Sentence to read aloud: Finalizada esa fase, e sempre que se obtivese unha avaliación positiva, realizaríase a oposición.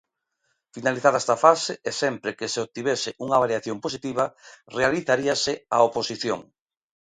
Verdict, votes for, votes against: rejected, 0, 2